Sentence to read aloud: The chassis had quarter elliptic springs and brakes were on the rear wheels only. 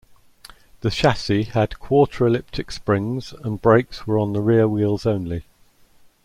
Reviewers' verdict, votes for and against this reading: accepted, 2, 0